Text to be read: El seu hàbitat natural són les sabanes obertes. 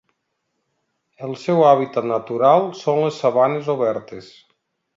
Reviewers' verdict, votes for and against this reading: accepted, 2, 0